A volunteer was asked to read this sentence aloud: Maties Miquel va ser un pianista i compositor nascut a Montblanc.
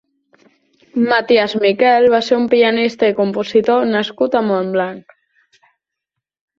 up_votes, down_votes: 3, 0